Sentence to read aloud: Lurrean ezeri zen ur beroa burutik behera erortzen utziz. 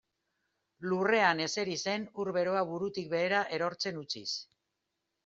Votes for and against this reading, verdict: 2, 1, accepted